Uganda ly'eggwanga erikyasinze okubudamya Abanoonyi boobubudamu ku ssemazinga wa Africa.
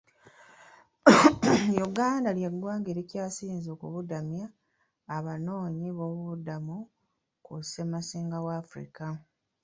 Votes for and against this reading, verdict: 0, 2, rejected